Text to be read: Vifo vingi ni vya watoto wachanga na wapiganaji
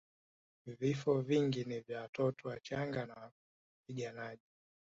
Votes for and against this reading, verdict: 2, 1, accepted